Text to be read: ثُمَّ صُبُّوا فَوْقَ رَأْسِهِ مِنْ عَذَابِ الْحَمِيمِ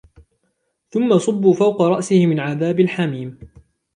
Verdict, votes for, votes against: accepted, 2, 0